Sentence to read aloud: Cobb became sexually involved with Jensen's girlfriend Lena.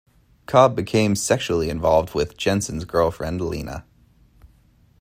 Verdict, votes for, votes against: accepted, 2, 0